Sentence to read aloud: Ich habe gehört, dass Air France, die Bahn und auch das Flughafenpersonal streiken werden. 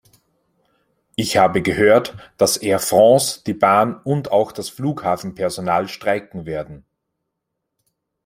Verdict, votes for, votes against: accepted, 2, 0